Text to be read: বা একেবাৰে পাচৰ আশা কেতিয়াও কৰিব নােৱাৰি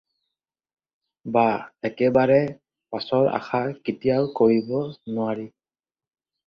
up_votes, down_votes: 4, 0